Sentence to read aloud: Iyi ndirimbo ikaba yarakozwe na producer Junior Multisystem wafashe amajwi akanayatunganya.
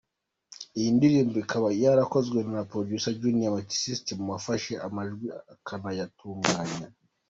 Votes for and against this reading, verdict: 0, 2, rejected